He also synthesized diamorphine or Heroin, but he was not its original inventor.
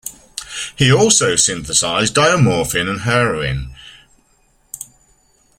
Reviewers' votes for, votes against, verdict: 0, 2, rejected